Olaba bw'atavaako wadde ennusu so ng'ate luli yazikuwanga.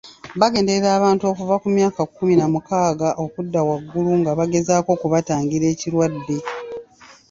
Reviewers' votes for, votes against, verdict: 0, 3, rejected